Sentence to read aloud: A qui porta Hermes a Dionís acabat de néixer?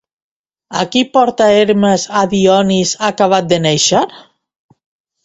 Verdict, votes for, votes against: rejected, 1, 2